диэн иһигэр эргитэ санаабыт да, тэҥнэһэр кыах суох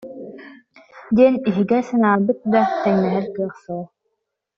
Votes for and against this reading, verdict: 1, 2, rejected